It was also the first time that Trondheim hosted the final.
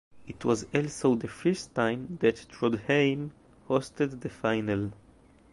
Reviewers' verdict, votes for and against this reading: accepted, 2, 0